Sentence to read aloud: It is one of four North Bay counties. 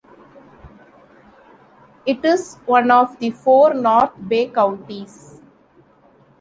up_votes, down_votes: 0, 2